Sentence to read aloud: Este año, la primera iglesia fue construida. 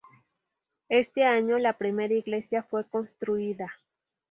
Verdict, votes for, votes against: rejected, 2, 2